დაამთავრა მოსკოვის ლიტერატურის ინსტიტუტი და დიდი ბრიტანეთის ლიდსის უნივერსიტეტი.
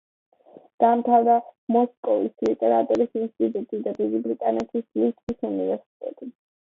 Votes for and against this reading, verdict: 0, 2, rejected